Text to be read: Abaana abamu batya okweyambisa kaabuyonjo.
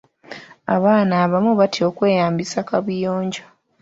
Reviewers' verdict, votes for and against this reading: accepted, 2, 0